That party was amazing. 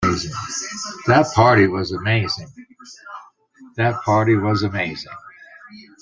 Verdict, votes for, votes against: rejected, 0, 3